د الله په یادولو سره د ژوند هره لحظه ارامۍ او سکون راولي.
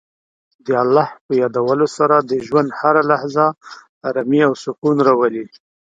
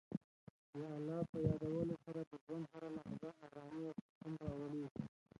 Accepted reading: first